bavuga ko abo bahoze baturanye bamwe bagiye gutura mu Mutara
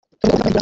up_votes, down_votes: 0, 2